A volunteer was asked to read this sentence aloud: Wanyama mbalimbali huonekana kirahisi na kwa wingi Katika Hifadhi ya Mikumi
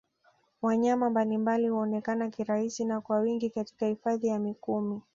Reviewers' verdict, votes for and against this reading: accepted, 2, 0